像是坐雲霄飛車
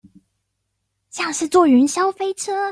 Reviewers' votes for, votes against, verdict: 2, 0, accepted